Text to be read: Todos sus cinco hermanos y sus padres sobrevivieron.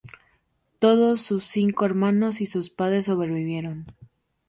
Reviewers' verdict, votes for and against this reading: accepted, 2, 0